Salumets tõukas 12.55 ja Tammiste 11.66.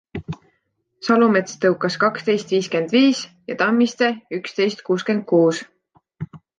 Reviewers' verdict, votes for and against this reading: rejected, 0, 2